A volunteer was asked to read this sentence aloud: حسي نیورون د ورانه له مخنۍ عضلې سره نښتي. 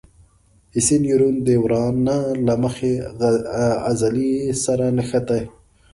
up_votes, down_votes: 0, 2